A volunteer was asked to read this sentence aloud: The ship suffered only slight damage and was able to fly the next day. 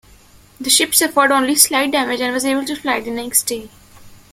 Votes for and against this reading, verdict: 1, 2, rejected